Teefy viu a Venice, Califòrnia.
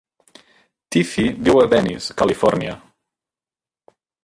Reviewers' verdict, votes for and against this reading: accepted, 2, 1